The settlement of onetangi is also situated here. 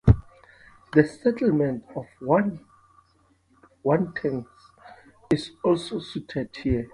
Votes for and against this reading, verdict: 0, 2, rejected